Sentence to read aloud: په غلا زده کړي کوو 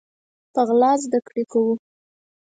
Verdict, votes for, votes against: accepted, 4, 0